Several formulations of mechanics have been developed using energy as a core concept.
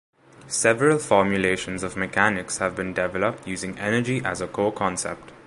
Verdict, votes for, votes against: accepted, 2, 0